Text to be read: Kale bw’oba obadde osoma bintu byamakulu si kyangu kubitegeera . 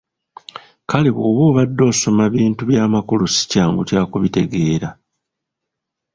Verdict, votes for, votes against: rejected, 1, 2